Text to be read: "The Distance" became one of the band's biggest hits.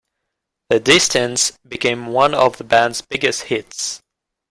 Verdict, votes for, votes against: accepted, 2, 0